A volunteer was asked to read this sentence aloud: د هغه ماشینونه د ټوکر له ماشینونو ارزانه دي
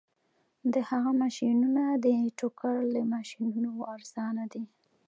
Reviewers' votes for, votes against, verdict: 2, 0, accepted